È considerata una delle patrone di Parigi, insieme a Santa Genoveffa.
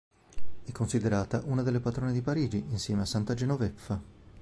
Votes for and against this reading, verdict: 3, 0, accepted